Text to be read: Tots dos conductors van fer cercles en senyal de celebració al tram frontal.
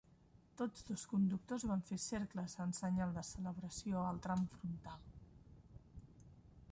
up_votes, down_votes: 2, 1